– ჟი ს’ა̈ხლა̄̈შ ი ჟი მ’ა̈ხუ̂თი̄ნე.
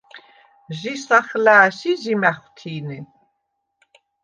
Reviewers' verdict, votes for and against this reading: accepted, 2, 0